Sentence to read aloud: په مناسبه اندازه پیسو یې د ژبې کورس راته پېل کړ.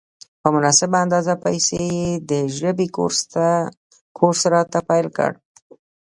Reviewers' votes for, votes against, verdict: 1, 2, rejected